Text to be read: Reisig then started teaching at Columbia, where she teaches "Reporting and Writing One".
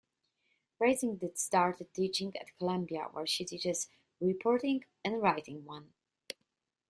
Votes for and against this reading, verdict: 1, 2, rejected